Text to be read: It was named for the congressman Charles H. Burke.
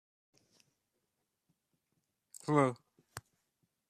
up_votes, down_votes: 0, 2